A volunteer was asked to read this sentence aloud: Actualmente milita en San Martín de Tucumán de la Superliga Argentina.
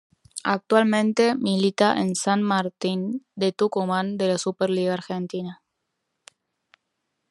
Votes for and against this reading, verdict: 0, 2, rejected